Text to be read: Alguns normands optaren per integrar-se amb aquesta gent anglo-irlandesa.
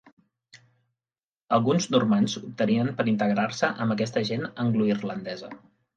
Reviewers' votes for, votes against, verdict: 0, 2, rejected